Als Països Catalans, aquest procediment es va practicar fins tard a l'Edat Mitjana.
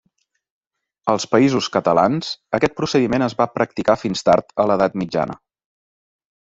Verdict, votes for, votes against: accepted, 3, 0